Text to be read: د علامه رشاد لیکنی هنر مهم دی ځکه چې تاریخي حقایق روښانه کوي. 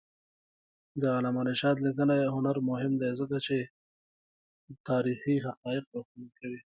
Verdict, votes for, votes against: accepted, 2, 0